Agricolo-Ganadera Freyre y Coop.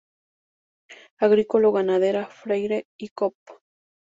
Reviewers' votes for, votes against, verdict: 4, 0, accepted